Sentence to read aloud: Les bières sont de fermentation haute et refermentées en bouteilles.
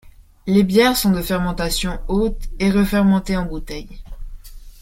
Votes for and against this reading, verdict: 2, 0, accepted